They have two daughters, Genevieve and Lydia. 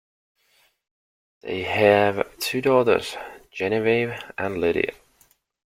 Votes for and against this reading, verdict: 2, 0, accepted